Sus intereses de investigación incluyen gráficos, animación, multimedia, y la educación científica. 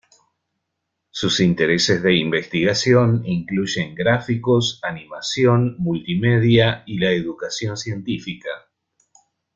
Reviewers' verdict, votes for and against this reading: accepted, 2, 0